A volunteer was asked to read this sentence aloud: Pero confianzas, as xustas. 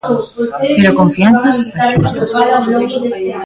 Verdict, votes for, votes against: rejected, 0, 2